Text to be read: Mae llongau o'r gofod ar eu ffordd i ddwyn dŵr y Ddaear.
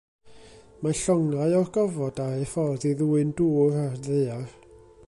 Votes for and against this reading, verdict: 1, 2, rejected